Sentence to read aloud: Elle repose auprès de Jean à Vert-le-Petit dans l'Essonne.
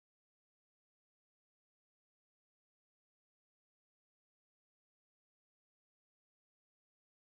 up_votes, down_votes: 0, 2